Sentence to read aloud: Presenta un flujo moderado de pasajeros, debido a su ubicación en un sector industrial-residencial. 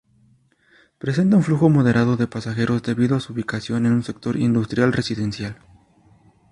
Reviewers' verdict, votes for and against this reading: accepted, 2, 0